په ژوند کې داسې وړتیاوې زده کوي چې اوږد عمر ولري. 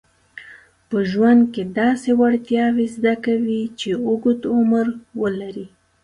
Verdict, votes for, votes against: accepted, 2, 0